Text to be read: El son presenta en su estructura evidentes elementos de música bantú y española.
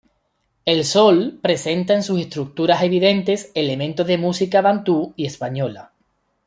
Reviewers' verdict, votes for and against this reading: rejected, 1, 2